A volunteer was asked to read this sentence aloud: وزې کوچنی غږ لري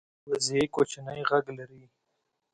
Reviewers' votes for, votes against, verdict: 2, 0, accepted